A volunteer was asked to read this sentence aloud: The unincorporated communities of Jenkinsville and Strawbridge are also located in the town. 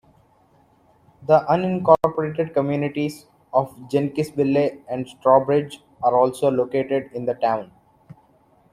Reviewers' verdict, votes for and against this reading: rejected, 0, 2